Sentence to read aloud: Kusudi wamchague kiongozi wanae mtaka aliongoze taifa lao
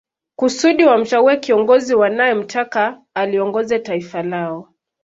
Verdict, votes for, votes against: accepted, 2, 0